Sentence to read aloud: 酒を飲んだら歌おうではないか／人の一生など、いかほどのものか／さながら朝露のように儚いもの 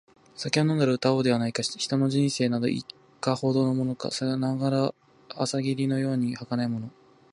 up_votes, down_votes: 0, 2